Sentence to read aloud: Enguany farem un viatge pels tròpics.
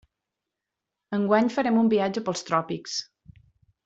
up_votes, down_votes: 3, 0